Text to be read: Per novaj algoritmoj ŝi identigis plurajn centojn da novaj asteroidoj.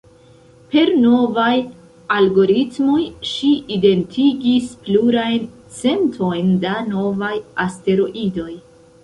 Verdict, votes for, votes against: rejected, 0, 2